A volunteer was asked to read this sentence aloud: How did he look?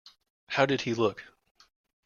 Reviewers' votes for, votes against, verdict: 2, 0, accepted